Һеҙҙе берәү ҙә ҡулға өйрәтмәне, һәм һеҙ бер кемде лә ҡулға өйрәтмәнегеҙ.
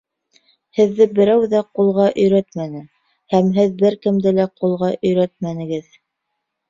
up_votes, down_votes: 2, 0